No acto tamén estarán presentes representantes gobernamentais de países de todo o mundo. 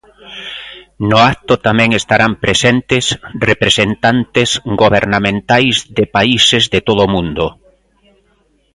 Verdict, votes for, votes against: accepted, 2, 0